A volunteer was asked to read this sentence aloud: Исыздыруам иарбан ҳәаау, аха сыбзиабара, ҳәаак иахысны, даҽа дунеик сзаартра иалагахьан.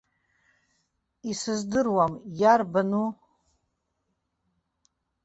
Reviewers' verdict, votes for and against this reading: rejected, 0, 2